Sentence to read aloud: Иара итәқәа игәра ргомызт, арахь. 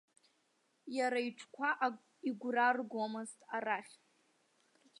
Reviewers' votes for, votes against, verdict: 1, 2, rejected